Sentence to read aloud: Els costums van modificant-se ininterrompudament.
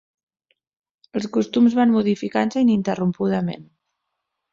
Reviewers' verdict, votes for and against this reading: accepted, 2, 0